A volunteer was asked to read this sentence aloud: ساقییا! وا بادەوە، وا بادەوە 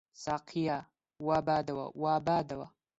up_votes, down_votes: 2, 0